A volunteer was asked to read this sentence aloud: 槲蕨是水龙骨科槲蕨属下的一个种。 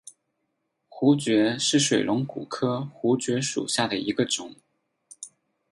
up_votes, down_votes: 6, 0